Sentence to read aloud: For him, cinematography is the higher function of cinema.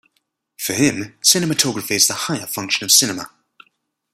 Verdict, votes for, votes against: accepted, 2, 0